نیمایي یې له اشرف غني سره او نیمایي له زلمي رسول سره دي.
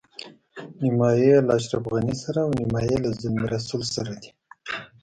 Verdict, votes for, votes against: rejected, 0, 2